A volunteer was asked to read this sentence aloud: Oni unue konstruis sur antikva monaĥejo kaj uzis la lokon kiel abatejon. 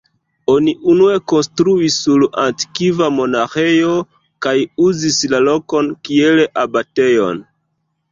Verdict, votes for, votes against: rejected, 1, 2